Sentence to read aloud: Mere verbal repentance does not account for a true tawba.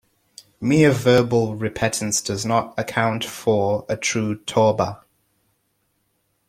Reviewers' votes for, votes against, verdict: 0, 2, rejected